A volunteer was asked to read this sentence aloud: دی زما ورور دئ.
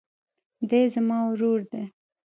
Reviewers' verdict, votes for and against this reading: accepted, 2, 1